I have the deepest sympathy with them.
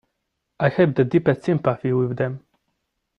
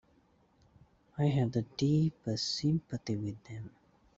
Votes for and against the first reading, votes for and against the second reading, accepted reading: 2, 0, 1, 2, first